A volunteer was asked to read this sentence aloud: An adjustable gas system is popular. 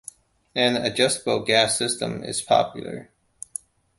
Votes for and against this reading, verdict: 2, 0, accepted